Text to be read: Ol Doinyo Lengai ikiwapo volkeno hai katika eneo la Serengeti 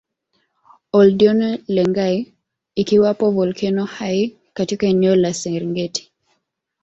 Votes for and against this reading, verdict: 2, 0, accepted